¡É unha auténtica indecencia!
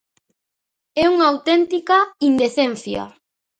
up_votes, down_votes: 2, 0